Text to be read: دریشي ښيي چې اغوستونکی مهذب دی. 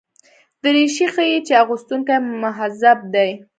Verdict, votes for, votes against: accepted, 2, 0